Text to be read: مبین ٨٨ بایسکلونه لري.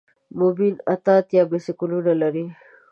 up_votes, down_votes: 0, 2